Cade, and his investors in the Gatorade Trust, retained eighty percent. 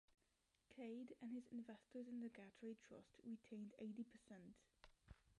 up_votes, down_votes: 0, 2